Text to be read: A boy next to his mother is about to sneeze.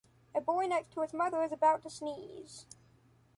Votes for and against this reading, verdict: 0, 2, rejected